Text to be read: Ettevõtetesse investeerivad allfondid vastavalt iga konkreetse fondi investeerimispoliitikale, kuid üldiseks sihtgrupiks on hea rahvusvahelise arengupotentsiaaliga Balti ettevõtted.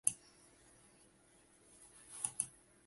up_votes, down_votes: 0, 2